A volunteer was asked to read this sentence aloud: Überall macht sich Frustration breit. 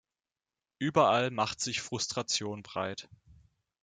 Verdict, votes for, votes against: accepted, 2, 1